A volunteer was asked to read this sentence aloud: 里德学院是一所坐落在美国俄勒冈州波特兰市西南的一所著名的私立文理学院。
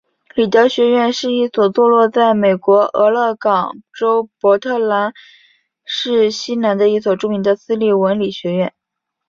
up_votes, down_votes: 3, 0